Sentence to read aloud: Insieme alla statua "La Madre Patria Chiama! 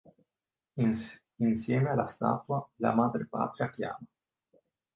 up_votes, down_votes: 1, 2